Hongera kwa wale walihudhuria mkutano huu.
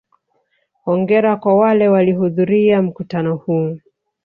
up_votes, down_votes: 1, 2